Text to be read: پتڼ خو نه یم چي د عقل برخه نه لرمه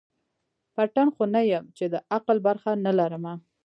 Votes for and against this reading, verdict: 1, 2, rejected